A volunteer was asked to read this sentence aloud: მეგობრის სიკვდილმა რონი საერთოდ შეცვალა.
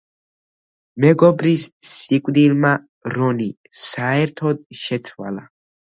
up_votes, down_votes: 1, 2